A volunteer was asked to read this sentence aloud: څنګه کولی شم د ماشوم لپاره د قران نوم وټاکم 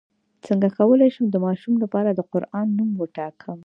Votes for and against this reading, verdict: 3, 0, accepted